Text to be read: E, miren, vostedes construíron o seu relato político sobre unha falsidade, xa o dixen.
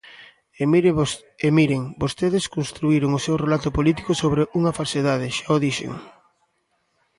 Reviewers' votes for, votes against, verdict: 1, 2, rejected